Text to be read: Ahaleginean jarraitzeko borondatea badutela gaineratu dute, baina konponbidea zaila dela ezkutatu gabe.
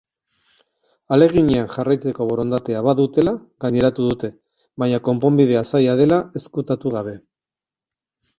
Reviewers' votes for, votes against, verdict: 6, 0, accepted